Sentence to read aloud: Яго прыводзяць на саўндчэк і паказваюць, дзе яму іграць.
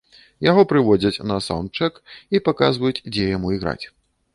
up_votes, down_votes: 2, 0